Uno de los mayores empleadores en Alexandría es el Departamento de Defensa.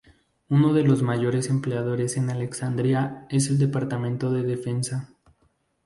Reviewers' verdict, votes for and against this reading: accepted, 2, 0